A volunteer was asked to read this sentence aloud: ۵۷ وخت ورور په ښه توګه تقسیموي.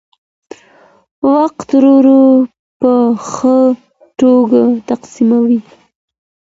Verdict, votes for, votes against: rejected, 0, 2